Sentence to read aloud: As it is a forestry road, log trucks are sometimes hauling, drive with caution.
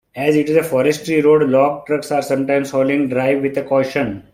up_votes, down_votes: 2, 1